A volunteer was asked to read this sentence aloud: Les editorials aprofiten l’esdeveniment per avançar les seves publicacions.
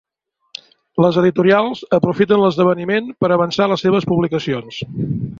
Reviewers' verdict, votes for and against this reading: accepted, 3, 0